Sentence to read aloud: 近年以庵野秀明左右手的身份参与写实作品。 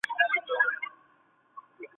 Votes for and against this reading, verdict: 0, 2, rejected